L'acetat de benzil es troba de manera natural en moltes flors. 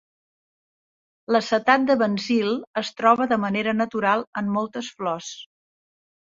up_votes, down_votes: 4, 0